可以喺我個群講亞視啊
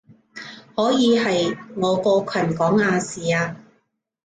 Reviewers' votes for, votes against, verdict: 0, 3, rejected